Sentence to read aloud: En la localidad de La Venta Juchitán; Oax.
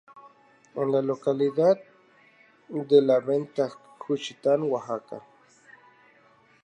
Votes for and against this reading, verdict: 2, 0, accepted